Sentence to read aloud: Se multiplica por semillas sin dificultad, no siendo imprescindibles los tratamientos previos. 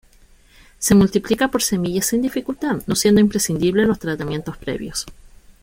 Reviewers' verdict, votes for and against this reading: accepted, 2, 0